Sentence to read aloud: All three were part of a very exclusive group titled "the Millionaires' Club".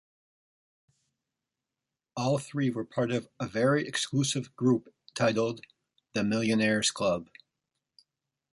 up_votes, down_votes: 2, 0